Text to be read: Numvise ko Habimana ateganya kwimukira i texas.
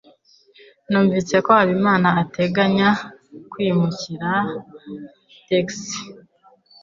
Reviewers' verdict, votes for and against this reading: accepted, 2, 0